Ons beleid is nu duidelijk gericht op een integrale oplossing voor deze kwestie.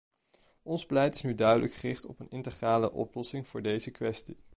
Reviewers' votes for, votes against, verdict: 2, 0, accepted